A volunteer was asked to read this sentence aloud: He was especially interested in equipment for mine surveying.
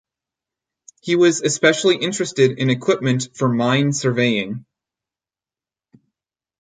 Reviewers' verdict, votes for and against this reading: accepted, 4, 0